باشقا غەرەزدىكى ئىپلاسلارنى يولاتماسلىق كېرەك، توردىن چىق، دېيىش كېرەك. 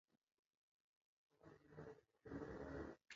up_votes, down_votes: 0, 2